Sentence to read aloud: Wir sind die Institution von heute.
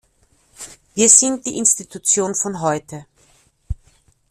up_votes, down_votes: 2, 0